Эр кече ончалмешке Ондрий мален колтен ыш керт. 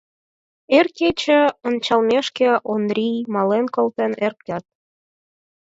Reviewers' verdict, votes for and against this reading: rejected, 2, 4